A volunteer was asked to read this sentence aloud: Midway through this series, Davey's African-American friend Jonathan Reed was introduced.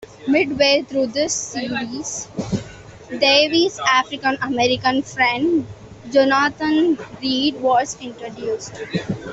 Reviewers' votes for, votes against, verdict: 2, 0, accepted